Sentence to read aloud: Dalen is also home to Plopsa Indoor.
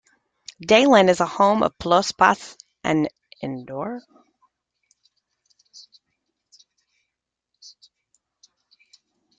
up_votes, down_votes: 0, 2